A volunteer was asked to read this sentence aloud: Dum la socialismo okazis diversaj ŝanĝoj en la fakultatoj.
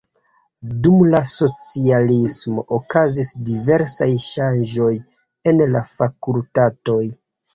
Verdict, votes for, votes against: rejected, 1, 2